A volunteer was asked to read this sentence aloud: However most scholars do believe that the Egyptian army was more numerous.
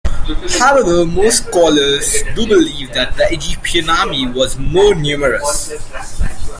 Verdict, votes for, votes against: accepted, 2, 1